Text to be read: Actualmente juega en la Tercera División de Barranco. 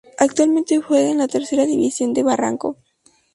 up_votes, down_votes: 2, 0